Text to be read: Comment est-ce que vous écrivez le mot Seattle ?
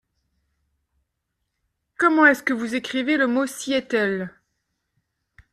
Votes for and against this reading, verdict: 2, 0, accepted